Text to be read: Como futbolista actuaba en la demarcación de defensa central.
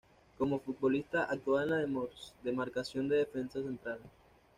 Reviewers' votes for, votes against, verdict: 1, 2, rejected